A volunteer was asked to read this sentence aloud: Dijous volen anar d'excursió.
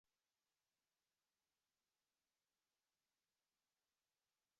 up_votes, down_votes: 1, 2